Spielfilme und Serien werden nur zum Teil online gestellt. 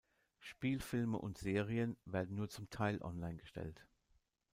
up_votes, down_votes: 2, 0